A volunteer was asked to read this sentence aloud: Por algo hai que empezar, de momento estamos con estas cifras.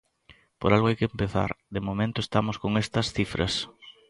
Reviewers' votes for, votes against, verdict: 2, 0, accepted